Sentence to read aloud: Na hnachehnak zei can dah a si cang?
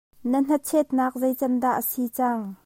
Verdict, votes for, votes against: rejected, 0, 2